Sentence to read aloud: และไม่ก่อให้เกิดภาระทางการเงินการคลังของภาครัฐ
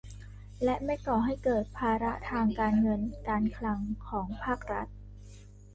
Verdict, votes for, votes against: rejected, 1, 2